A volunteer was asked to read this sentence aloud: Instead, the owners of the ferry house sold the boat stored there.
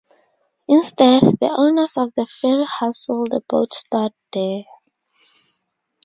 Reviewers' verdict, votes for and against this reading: accepted, 2, 0